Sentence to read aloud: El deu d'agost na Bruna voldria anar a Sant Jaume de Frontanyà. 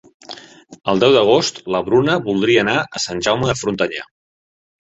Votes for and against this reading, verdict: 0, 2, rejected